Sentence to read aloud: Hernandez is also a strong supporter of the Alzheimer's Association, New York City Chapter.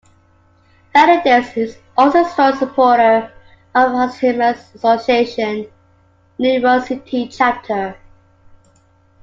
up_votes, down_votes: 1, 2